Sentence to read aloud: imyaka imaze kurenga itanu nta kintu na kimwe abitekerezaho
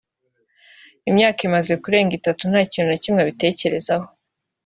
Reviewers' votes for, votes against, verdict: 3, 0, accepted